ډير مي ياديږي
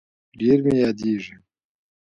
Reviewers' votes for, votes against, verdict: 2, 0, accepted